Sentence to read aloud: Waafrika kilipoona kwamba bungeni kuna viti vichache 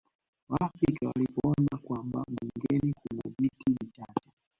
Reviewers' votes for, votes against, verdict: 0, 4, rejected